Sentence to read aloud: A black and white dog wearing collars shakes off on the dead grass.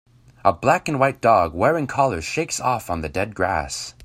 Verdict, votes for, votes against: accepted, 2, 0